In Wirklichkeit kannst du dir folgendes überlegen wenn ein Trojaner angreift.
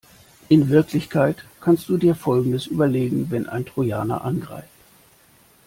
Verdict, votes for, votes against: accepted, 2, 0